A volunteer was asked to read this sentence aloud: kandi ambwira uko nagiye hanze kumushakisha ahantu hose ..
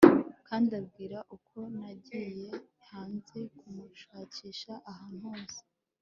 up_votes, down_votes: 2, 0